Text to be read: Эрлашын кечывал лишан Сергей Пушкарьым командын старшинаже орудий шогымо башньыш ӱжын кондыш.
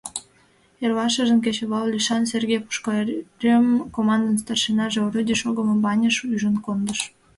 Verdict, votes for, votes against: rejected, 0, 2